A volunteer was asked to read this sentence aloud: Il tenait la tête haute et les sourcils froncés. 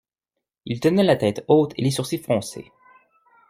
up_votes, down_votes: 2, 0